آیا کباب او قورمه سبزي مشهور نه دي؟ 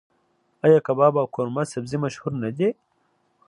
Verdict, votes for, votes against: accepted, 2, 0